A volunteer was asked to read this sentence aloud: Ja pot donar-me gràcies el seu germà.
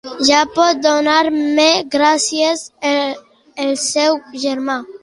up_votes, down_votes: 1, 2